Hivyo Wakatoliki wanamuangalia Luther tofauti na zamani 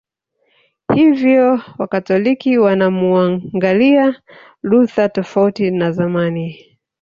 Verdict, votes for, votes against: accepted, 2, 1